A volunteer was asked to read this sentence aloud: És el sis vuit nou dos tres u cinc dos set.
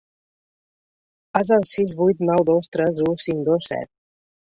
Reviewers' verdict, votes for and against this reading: accepted, 2, 0